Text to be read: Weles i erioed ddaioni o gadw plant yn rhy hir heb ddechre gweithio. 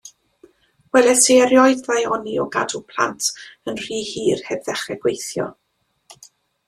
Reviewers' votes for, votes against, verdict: 3, 0, accepted